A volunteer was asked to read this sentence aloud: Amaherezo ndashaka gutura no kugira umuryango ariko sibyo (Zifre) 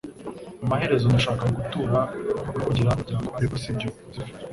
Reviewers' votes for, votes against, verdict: 1, 2, rejected